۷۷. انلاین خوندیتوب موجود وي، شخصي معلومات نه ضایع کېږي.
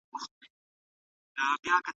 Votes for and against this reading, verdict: 0, 2, rejected